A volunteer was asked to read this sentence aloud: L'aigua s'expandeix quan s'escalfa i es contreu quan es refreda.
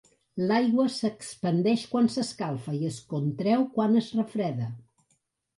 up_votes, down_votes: 2, 0